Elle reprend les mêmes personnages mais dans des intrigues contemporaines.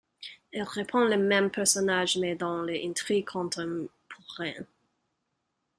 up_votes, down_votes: 0, 2